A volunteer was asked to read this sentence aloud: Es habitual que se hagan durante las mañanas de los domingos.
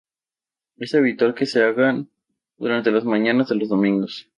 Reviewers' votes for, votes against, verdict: 2, 0, accepted